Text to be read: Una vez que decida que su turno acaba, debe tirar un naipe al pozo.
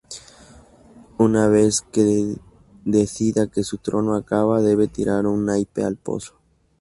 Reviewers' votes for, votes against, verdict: 0, 2, rejected